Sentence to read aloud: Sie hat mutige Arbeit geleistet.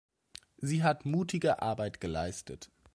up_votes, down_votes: 2, 0